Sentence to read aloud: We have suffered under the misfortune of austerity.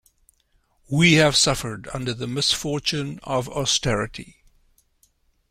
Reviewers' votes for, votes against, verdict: 2, 0, accepted